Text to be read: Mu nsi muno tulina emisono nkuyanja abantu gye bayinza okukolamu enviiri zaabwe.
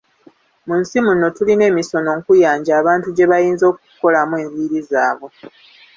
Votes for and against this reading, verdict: 2, 0, accepted